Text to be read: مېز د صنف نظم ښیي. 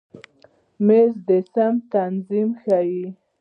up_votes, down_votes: 0, 2